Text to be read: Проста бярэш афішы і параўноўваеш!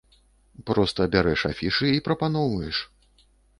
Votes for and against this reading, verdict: 1, 2, rejected